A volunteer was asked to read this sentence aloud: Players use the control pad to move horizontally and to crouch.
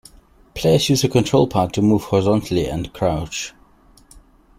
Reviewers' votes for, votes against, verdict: 2, 0, accepted